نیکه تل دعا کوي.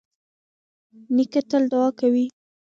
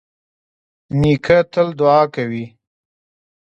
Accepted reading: second